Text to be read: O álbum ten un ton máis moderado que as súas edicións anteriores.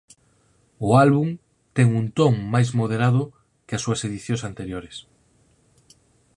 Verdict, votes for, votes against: accepted, 4, 0